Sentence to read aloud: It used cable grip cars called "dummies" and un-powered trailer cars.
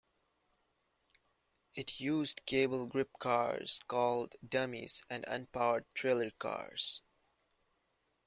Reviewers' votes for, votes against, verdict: 5, 0, accepted